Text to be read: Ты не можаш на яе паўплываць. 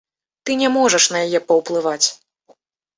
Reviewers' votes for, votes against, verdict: 2, 0, accepted